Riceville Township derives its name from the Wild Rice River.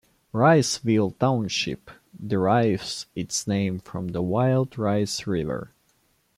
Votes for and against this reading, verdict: 2, 0, accepted